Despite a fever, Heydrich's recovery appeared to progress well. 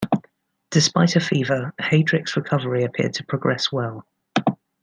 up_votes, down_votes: 1, 2